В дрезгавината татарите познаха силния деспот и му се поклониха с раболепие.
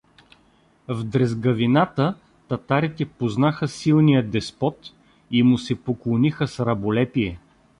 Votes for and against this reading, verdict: 2, 0, accepted